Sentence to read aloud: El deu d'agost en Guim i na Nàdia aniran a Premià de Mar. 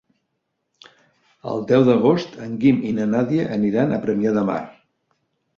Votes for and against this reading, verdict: 3, 0, accepted